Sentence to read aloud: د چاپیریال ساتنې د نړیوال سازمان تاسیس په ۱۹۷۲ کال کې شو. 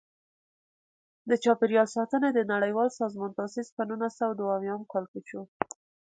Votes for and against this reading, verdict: 0, 2, rejected